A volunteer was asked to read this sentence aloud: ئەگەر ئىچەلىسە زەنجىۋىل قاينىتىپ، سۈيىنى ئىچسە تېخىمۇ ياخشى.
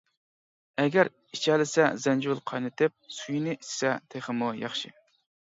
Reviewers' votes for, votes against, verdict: 2, 0, accepted